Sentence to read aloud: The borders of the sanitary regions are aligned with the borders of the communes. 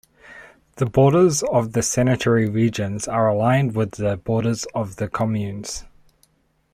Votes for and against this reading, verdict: 2, 0, accepted